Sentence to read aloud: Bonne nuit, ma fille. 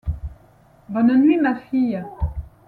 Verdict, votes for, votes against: accepted, 2, 0